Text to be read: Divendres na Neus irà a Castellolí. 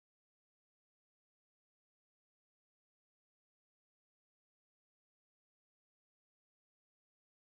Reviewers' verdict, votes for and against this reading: rejected, 0, 2